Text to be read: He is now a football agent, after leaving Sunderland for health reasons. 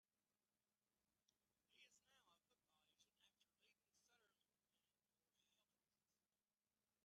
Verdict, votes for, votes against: rejected, 0, 2